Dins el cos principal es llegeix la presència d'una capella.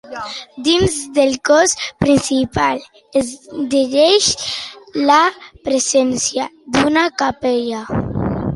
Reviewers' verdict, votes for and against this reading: rejected, 0, 2